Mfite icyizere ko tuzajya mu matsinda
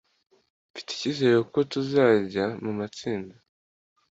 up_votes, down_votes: 2, 0